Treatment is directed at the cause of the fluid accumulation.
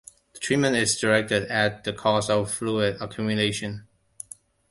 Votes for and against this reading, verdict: 0, 2, rejected